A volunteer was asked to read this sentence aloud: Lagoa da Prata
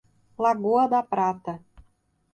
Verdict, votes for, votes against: accepted, 2, 0